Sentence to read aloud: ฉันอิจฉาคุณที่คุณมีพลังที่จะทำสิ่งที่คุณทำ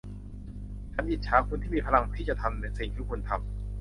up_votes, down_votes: 0, 2